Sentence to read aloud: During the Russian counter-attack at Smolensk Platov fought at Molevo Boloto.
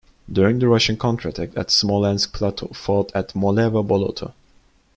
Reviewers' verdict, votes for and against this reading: accepted, 2, 0